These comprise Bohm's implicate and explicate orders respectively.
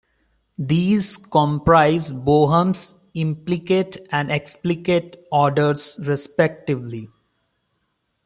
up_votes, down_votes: 2, 1